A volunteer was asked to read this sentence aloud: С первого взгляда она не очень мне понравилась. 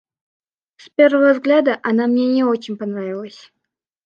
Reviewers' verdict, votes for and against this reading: rejected, 0, 2